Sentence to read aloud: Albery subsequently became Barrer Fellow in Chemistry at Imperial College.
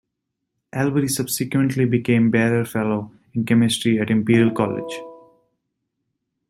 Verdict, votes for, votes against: rejected, 0, 2